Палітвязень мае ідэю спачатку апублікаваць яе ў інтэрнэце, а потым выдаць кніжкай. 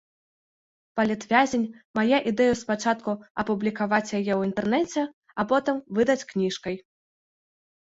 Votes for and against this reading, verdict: 1, 2, rejected